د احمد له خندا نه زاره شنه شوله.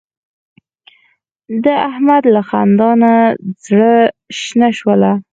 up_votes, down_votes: 0, 4